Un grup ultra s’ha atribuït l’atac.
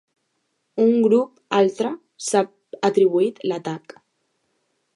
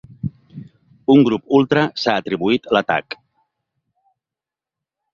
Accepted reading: second